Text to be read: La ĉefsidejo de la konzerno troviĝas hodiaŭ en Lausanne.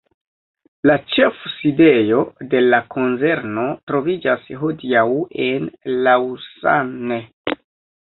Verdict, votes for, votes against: rejected, 0, 2